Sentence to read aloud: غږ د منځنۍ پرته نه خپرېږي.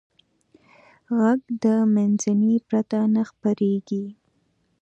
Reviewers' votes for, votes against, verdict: 2, 0, accepted